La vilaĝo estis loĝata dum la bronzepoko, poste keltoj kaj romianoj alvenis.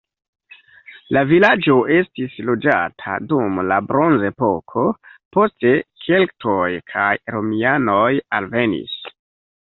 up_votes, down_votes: 1, 2